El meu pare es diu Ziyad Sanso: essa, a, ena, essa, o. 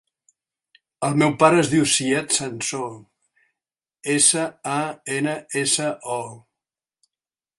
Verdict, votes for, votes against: rejected, 0, 2